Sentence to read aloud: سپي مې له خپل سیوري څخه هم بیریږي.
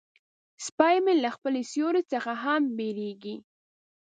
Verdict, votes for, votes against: rejected, 1, 2